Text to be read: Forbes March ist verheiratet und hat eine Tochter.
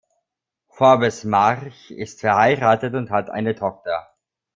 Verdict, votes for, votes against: rejected, 0, 2